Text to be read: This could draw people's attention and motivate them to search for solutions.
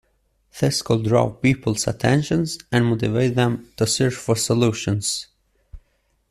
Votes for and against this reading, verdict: 1, 2, rejected